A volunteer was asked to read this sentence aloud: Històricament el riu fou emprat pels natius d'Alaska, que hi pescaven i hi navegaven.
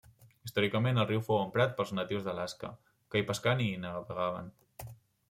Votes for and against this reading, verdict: 1, 2, rejected